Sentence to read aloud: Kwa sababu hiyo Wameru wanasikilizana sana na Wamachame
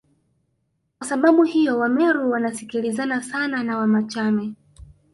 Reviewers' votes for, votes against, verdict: 0, 2, rejected